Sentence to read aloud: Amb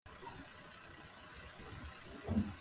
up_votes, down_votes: 0, 2